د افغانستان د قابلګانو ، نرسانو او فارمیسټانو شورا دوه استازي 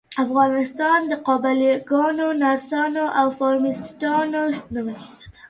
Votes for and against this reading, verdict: 1, 2, rejected